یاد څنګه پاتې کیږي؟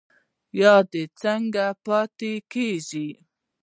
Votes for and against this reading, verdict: 1, 2, rejected